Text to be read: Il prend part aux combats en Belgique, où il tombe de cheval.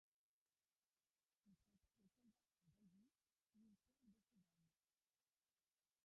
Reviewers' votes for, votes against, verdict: 0, 3, rejected